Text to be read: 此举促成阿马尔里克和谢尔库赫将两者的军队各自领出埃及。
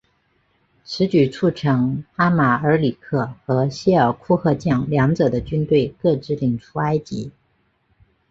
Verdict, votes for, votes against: accepted, 5, 0